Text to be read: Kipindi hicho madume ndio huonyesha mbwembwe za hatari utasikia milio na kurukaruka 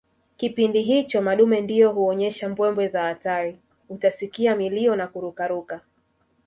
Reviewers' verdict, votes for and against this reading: rejected, 1, 2